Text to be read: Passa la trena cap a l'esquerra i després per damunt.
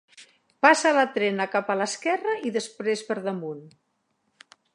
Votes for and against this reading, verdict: 3, 0, accepted